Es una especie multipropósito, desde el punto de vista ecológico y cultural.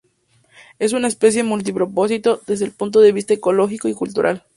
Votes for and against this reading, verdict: 2, 0, accepted